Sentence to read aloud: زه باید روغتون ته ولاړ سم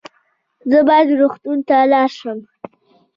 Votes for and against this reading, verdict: 1, 2, rejected